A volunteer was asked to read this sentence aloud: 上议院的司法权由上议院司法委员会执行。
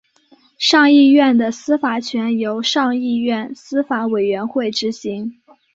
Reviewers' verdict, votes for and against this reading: accepted, 3, 0